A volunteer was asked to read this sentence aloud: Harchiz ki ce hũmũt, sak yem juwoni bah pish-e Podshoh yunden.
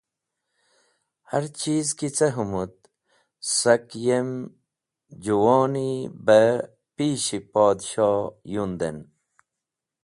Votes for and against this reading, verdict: 2, 0, accepted